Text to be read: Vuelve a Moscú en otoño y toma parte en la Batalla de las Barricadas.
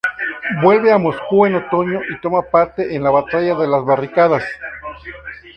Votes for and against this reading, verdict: 0, 2, rejected